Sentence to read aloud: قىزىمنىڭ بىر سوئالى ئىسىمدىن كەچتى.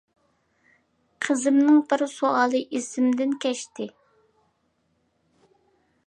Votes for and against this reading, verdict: 2, 0, accepted